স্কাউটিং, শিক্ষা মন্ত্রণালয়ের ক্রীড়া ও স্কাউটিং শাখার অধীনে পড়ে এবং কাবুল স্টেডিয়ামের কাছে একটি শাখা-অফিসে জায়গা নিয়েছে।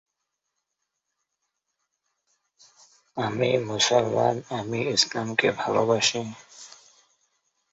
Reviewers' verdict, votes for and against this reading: rejected, 0, 2